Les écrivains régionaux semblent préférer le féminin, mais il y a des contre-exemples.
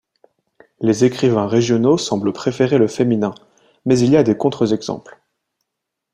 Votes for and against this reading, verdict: 1, 2, rejected